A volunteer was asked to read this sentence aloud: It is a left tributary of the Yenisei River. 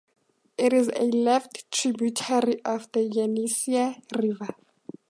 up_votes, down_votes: 4, 0